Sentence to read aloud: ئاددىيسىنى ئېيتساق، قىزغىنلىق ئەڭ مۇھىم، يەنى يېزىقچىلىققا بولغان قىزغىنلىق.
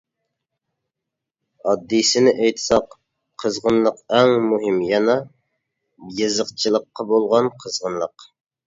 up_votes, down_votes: 1, 2